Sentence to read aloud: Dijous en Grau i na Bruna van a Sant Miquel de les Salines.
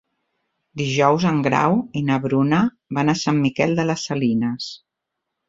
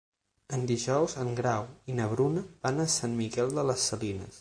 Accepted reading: first